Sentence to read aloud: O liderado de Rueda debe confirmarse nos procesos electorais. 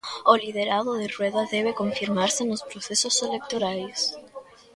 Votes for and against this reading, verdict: 2, 1, accepted